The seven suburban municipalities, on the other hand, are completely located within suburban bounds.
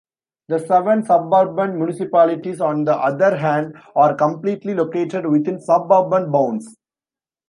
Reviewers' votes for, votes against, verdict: 2, 0, accepted